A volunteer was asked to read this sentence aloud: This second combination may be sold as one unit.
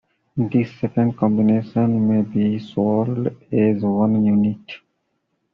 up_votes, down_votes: 2, 0